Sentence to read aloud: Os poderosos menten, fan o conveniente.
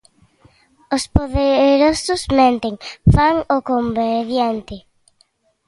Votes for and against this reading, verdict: 1, 2, rejected